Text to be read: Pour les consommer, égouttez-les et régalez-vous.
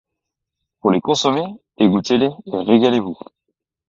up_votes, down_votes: 2, 0